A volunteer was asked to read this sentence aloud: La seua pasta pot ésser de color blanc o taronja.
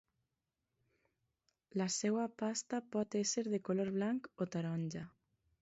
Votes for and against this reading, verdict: 2, 0, accepted